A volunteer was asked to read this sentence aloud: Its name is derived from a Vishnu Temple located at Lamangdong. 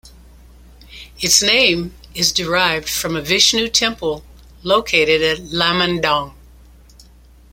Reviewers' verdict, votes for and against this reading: accepted, 2, 0